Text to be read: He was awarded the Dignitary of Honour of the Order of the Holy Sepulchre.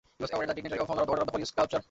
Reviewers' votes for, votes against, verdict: 0, 2, rejected